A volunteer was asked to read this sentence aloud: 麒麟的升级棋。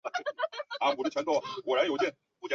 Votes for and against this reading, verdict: 0, 2, rejected